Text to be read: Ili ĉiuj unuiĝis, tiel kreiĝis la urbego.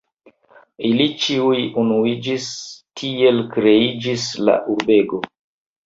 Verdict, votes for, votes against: accepted, 3, 2